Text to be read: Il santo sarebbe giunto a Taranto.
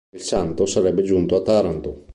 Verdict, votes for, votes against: accepted, 2, 0